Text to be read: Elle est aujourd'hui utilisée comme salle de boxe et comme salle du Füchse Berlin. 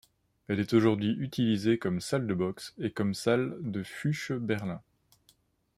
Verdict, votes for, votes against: rejected, 0, 2